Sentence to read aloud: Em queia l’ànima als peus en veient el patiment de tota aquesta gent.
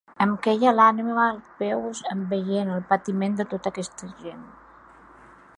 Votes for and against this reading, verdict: 1, 2, rejected